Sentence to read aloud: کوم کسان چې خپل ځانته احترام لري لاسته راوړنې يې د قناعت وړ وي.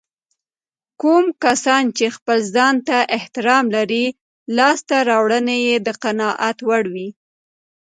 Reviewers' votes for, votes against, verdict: 2, 0, accepted